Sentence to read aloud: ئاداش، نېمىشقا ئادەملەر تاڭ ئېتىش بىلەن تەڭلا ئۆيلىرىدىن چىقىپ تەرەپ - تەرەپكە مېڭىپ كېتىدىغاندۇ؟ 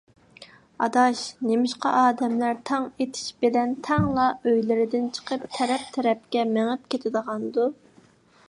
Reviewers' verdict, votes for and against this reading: accepted, 2, 0